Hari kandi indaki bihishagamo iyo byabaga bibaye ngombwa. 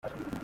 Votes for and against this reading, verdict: 0, 2, rejected